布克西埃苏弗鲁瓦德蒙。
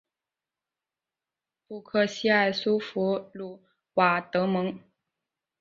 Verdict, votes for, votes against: accepted, 2, 0